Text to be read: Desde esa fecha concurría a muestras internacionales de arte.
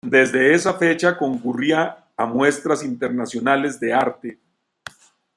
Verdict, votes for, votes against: accepted, 2, 1